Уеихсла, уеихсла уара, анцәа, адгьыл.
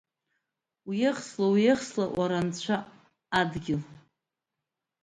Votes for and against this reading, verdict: 2, 0, accepted